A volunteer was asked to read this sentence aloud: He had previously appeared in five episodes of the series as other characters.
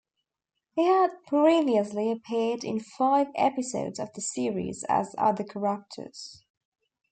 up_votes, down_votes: 1, 2